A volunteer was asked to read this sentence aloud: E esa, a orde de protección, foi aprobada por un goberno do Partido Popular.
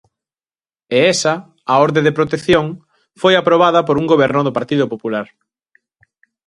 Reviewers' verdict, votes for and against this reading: accepted, 2, 0